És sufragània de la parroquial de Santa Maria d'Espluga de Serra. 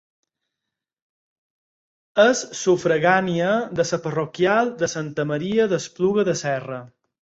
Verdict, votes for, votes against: rejected, 0, 4